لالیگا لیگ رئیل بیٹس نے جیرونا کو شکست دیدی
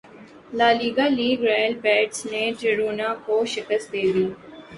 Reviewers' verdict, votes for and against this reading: accepted, 2, 0